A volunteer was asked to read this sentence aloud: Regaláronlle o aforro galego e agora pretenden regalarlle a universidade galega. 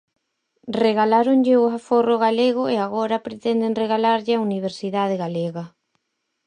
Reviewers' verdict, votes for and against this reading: accepted, 4, 0